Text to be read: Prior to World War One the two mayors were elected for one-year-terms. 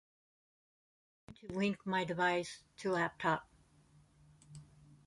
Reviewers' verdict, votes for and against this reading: rejected, 0, 2